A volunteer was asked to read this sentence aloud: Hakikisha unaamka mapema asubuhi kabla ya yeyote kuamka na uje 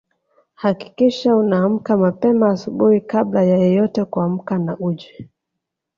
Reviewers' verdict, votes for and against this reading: accepted, 3, 2